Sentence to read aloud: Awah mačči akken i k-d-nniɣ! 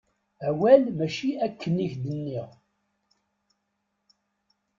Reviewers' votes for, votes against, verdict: 0, 2, rejected